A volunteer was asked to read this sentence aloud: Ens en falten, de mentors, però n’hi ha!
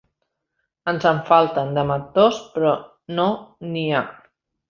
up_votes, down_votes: 1, 2